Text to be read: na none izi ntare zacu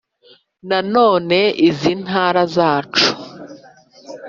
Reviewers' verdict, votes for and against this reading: rejected, 0, 2